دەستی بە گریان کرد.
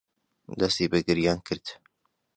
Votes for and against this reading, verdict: 2, 0, accepted